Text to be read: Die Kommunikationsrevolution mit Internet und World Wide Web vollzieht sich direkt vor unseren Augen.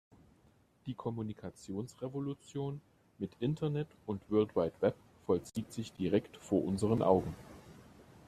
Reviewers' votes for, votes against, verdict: 3, 0, accepted